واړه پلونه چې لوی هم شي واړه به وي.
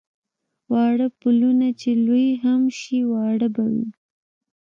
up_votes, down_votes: 2, 0